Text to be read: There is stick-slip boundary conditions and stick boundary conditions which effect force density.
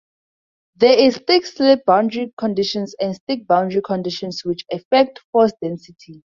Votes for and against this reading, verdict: 2, 0, accepted